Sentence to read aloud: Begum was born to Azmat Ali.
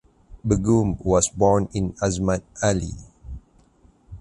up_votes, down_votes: 2, 4